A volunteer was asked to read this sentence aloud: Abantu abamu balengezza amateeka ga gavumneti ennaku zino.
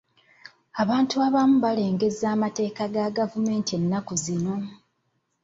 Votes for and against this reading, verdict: 2, 0, accepted